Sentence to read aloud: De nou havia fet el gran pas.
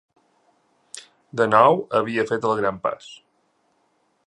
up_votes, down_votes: 2, 0